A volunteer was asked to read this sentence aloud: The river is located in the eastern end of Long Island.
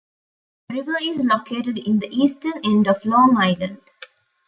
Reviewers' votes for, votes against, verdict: 2, 0, accepted